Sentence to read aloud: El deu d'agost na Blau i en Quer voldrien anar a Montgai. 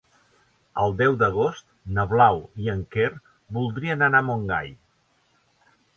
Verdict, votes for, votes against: accepted, 3, 0